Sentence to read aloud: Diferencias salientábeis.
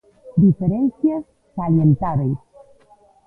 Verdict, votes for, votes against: rejected, 0, 2